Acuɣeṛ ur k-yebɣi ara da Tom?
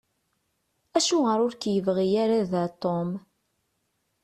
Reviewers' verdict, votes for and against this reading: accepted, 3, 0